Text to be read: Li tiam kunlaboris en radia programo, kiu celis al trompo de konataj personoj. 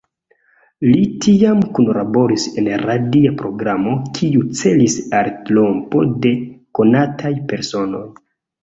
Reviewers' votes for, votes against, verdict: 2, 0, accepted